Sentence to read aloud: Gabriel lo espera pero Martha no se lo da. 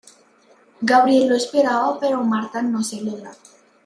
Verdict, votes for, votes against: rejected, 1, 2